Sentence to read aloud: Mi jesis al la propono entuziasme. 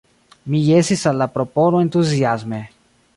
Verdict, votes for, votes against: rejected, 0, 2